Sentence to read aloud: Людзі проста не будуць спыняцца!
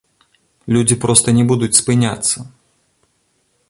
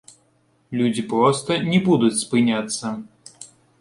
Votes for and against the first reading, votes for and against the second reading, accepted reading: 2, 0, 0, 2, first